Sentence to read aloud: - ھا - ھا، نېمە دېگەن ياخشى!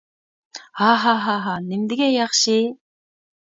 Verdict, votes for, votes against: rejected, 1, 2